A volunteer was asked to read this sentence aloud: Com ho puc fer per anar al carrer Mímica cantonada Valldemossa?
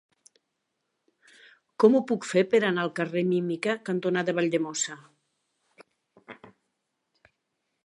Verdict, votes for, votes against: accepted, 3, 0